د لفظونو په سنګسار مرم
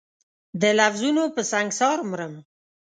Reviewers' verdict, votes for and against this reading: accepted, 2, 0